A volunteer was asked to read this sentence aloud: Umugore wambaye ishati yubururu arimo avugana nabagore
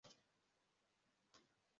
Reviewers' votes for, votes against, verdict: 0, 2, rejected